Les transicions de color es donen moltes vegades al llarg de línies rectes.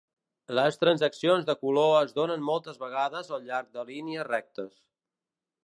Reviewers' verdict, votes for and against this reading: rejected, 1, 2